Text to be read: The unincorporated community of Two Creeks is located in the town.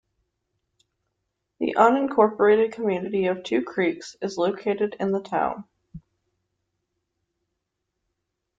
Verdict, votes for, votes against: accepted, 2, 0